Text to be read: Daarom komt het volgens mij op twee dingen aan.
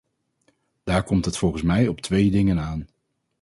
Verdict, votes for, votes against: rejected, 0, 4